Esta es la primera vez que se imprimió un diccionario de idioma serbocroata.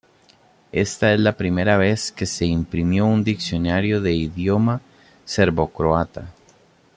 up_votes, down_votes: 2, 0